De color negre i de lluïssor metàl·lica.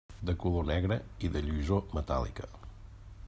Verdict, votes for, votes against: accepted, 2, 0